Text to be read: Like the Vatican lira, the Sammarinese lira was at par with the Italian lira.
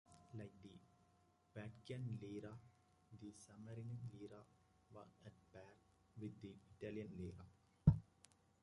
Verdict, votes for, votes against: rejected, 0, 2